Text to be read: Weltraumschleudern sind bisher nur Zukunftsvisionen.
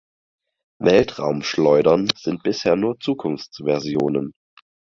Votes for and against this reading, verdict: 0, 4, rejected